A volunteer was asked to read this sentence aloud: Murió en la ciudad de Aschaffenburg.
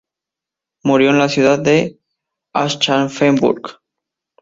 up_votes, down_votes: 2, 0